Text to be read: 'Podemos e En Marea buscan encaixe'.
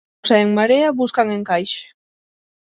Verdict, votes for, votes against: rejected, 0, 6